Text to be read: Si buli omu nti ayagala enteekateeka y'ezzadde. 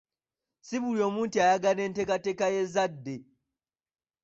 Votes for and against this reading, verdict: 2, 0, accepted